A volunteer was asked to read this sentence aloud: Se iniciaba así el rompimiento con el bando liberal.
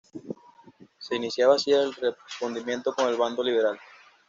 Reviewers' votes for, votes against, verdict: 1, 2, rejected